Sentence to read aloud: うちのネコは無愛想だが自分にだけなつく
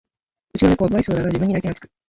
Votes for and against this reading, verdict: 1, 2, rejected